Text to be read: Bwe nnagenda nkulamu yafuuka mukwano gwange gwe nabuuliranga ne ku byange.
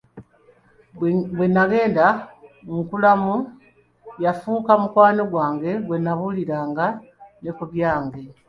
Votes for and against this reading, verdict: 2, 1, accepted